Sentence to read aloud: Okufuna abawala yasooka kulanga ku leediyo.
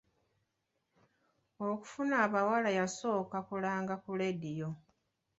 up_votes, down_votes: 2, 0